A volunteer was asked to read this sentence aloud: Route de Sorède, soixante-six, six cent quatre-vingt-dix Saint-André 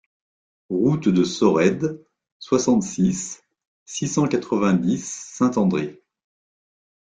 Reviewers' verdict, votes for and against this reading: accepted, 2, 0